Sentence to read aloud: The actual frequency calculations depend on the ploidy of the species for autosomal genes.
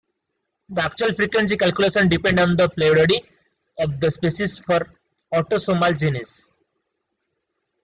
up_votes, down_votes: 0, 2